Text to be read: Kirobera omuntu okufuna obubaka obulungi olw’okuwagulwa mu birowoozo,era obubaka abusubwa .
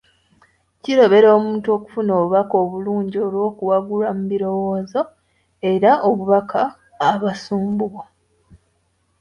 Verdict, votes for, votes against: rejected, 1, 2